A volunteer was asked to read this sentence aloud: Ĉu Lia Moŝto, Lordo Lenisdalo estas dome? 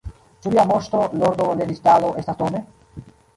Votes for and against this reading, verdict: 1, 2, rejected